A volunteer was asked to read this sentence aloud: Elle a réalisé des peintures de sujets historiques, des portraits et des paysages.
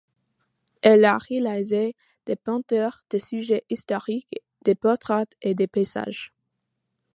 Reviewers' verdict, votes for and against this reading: rejected, 0, 2